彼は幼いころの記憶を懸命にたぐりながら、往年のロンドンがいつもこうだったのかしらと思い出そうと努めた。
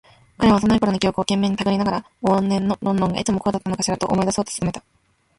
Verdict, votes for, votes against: rejected, 1, 2